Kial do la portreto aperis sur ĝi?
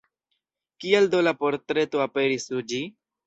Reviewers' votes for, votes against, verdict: 2, 1, accepted